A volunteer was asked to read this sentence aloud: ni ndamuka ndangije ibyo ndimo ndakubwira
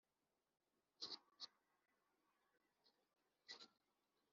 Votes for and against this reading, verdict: 2, 0, accepted